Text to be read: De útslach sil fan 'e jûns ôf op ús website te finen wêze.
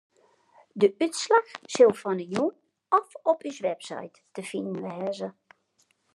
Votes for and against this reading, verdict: 1, 2, rejected